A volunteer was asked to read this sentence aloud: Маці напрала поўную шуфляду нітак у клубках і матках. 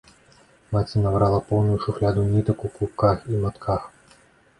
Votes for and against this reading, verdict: 1, 2, rejected